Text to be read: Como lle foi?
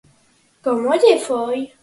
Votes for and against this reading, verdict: 4, 0, accepted